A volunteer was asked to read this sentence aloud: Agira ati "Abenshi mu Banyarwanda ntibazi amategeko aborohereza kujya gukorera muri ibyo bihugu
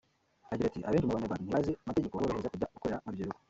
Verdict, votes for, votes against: rejected, 1, 2